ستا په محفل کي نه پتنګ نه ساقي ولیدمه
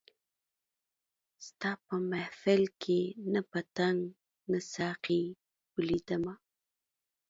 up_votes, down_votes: 0, 2